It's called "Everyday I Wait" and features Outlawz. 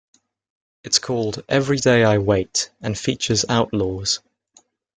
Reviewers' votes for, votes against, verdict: 2, 0, accepted